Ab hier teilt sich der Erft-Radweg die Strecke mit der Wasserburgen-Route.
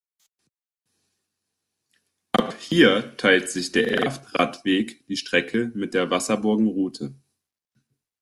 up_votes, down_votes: 0, 2